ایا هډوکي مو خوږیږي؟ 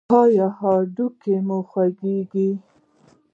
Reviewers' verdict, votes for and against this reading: rejected, 1, 2